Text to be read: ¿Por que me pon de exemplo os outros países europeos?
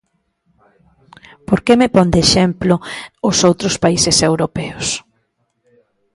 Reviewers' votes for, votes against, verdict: 2, 0, accepted